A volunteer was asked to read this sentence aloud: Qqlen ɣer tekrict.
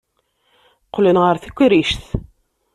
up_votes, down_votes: 2, 0